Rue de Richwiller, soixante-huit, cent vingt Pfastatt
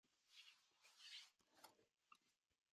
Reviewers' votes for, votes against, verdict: 0, 2, rejected